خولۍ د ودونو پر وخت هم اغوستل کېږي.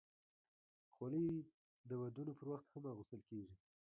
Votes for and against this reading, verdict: 1, 2, rejected